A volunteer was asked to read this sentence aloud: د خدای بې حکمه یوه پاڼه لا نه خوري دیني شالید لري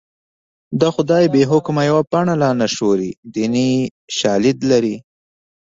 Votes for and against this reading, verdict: 2, 0, accepted